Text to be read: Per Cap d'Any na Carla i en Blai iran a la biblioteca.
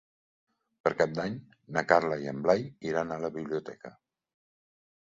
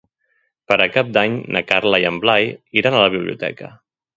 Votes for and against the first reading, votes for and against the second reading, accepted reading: 2, 0, 1, 2, first